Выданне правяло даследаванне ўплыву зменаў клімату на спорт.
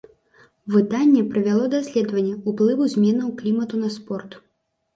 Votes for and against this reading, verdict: 2, 0, accepted